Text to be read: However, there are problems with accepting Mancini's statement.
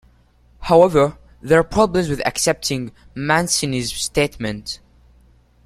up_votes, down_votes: 2, 0